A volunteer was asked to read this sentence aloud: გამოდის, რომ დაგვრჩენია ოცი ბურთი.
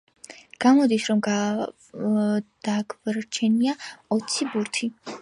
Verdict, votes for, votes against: accepted, 2, 1